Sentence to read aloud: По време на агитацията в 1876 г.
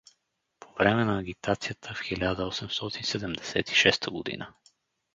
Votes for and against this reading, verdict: 0, 2, rejected